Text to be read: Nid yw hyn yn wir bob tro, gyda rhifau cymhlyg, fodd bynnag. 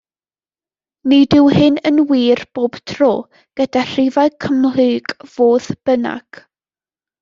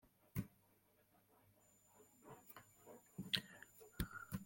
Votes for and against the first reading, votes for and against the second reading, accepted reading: 2, 0, 0, 2, first